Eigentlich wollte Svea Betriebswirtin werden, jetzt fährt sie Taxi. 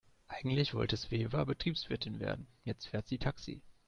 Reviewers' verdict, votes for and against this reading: rejected, 0, 2